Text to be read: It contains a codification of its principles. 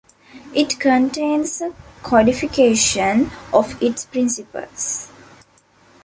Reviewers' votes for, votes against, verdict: 2, 1, accepted